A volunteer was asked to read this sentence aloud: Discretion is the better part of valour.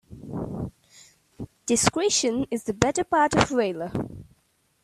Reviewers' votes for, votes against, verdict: 2, 1, accepted